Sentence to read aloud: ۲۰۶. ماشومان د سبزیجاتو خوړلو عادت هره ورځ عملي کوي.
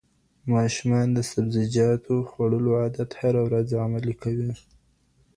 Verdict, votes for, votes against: rejected, 0, 2